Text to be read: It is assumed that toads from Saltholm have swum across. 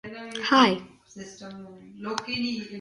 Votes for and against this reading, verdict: 0, 2, rejected